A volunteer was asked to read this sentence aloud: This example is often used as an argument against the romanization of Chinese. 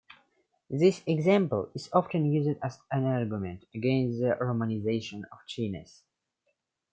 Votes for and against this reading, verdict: 2, 1, accepted